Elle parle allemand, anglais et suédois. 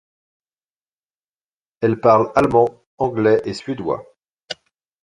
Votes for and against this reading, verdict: 2, 0, accepted